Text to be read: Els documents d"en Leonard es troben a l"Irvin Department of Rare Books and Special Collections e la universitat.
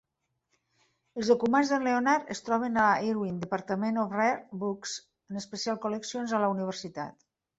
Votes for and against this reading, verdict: 5, 3, accepted